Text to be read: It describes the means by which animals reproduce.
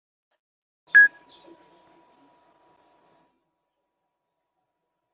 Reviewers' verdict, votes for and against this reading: rejected, 1, 2